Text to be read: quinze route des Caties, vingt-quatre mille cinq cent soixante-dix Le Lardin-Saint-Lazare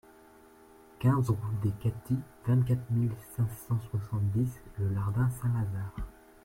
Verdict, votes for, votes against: rejected, 1, 2